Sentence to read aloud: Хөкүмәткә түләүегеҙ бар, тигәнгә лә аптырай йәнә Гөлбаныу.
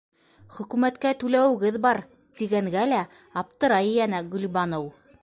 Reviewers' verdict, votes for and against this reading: accepted, 2, 0